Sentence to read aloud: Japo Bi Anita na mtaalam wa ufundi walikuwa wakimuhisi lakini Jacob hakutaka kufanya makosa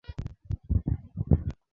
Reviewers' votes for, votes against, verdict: 0, 2, rejected